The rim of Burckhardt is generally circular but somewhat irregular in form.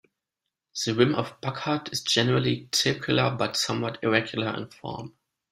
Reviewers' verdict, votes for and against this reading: accepted, 2, 0